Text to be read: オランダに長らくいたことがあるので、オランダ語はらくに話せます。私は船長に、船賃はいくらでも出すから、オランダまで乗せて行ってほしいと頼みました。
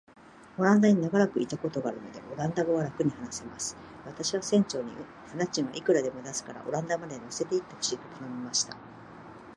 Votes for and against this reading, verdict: 2, 0, accepted